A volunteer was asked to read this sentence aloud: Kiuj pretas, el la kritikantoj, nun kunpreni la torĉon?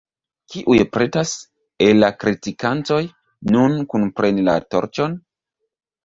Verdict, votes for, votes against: rejected, 1, 2